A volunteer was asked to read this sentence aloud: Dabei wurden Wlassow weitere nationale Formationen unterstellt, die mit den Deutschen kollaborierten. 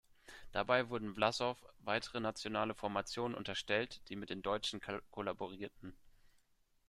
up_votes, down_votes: 0, 2